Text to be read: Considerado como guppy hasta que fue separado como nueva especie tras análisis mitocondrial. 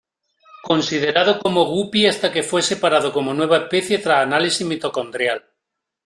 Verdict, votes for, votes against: accepted, 2, 0